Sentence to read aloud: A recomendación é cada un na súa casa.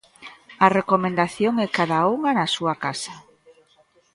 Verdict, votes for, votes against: rejected, 0, 2